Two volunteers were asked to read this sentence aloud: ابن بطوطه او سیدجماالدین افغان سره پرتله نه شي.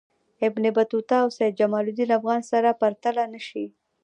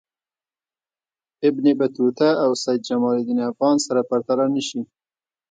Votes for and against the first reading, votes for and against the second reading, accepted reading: 2, 0, 0, 2, first